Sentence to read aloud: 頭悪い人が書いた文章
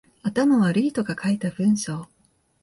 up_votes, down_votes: 2, 0